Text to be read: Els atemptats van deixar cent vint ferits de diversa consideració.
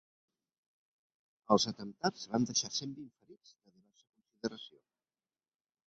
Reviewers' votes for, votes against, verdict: 0, 2, rejected